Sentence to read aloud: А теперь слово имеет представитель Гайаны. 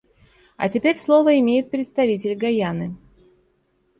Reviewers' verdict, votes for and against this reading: accepted, 2, 1